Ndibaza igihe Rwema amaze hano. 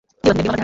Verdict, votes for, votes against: rejected, 0, 2